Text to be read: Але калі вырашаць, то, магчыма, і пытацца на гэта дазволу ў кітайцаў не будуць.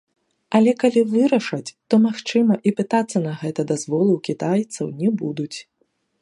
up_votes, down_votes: 2, 1